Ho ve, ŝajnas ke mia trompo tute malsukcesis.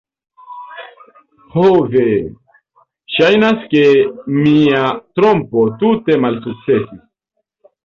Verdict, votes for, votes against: rejected, 1, 2